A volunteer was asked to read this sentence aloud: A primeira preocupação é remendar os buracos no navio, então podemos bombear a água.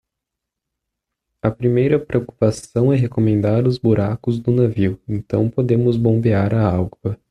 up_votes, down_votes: 0, 2